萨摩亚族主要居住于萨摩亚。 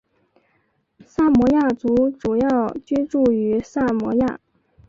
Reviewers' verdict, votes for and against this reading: accepted, 3, 0